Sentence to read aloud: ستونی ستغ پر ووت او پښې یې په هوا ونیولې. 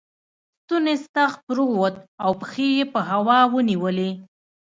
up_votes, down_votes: 2, 0